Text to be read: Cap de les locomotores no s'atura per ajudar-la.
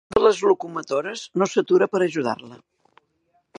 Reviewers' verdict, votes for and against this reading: rejected, 0, 2